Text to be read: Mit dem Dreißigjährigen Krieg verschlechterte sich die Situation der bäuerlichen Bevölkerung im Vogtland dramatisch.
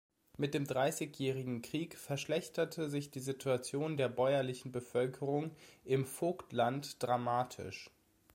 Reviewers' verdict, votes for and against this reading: accepted, 2, 0